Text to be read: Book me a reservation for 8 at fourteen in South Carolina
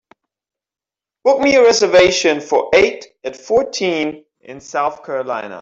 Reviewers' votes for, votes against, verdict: 0, 2, rejected